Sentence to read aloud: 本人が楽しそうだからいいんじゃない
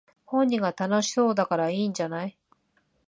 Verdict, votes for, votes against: accepted, 9, 0